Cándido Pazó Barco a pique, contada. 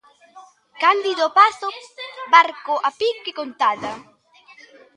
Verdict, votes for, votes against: rejected, 0, 2